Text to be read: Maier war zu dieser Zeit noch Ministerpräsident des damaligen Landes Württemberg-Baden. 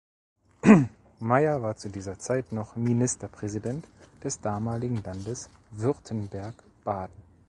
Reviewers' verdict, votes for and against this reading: rejected, 1, 2